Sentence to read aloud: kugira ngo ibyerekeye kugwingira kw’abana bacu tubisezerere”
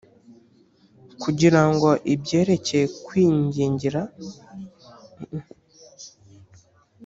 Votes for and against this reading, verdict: 0, 3, rejected